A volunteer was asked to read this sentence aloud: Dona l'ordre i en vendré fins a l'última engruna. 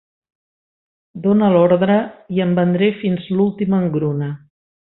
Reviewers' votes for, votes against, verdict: 0, 2, rejected